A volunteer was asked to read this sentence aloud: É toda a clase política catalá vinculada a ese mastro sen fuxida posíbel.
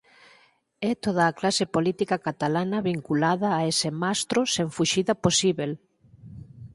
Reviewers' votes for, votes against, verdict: 0, 4, rejected